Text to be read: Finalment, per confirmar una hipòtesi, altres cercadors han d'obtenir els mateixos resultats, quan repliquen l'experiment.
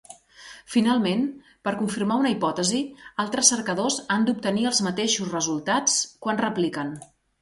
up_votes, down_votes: 1, 2